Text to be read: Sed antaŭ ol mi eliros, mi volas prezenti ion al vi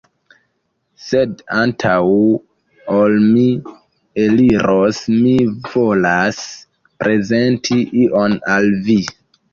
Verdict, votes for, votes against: accepted, 2, 1